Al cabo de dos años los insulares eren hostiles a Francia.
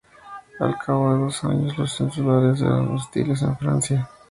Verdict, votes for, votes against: accepted, 2, 0